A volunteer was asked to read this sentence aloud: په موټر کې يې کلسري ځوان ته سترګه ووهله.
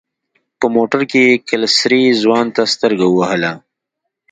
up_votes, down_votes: 2, 0